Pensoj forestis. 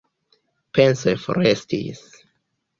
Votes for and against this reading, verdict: 2, 1, accepted